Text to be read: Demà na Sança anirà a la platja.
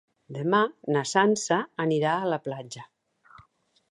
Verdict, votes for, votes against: accepted, 2, 0